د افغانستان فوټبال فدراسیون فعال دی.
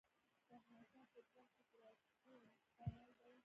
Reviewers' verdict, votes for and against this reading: rejected, 0, 2